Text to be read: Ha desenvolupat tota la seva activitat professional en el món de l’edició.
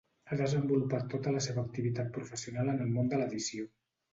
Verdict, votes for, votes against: accepted, 2, 0